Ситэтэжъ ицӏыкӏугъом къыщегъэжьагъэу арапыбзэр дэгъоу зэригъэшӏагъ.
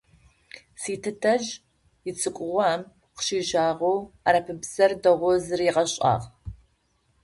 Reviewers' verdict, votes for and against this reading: rejected, 0, 2